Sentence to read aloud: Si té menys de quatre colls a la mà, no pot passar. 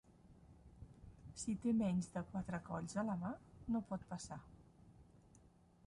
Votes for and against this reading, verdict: 0, 2, rejected